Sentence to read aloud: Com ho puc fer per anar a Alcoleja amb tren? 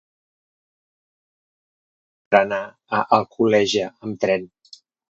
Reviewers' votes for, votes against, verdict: 0, 2, rejected